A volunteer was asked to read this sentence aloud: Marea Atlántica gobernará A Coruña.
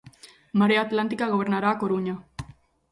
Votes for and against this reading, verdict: 2, 0, accepted